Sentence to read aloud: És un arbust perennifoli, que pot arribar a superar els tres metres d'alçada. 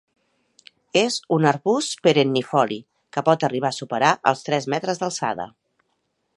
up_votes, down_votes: 3, 0